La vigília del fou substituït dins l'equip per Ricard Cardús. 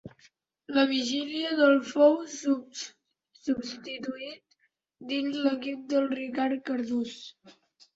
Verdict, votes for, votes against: rejected, 0, 2